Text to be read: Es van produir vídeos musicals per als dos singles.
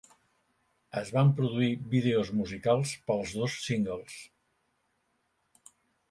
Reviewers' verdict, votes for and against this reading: rejected, 1, 2